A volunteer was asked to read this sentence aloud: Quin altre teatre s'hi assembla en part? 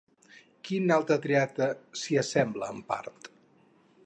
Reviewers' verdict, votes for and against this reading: rejected, 0, 2